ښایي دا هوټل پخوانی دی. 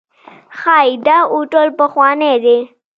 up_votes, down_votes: 0, 2